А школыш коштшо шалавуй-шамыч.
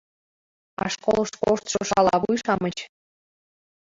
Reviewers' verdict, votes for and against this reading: accepted, 2, 1